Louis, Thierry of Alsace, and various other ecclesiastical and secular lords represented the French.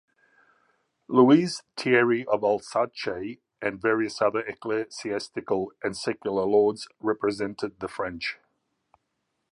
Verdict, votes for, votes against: rejected, 0, 2